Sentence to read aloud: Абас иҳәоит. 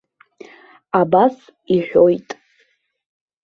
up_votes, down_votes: 2, 0